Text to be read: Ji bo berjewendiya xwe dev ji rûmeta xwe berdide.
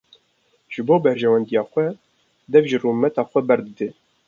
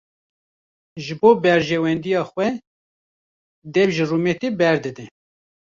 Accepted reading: first